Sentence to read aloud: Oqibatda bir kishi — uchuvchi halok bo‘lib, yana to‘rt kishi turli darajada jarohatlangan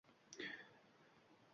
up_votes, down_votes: 0, 2